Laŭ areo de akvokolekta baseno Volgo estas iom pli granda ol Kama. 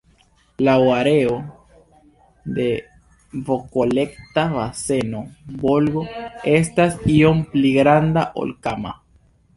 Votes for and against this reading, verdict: 1, 2, rejected